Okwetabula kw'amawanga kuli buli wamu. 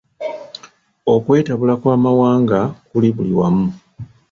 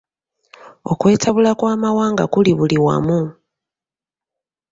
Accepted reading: second